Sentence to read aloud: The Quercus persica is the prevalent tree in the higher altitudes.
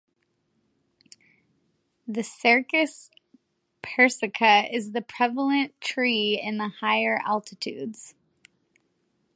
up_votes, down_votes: 0, 2